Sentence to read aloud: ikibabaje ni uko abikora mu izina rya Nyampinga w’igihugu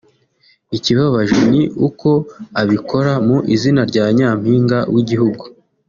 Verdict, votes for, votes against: accepted, 2, 0